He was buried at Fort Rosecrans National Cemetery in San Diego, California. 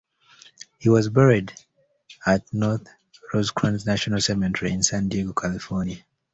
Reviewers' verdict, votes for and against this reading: accepted, 2, 1